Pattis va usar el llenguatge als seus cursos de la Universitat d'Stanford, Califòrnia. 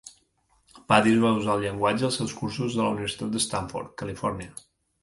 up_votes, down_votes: 1, 2